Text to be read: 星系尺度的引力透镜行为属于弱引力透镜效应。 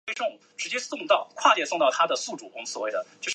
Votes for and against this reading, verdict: 0, 2, rejected